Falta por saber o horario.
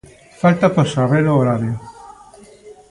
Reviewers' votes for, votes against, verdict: 1, 2, rejected